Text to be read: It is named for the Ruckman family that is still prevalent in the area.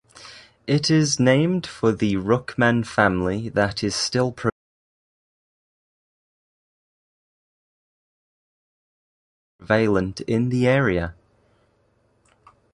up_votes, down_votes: 0, 2